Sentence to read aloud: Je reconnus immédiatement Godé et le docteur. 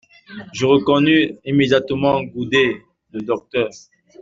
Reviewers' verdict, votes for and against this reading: rejected, 1, 2